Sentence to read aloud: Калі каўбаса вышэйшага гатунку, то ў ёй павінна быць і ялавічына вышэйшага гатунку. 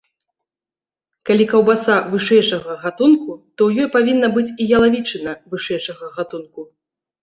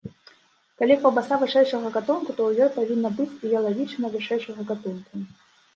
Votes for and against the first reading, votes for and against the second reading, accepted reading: 2, 1, 1, 2, first